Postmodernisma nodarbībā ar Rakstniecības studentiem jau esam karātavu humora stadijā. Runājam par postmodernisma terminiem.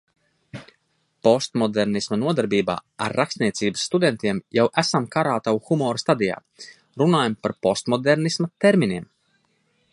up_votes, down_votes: 2, 0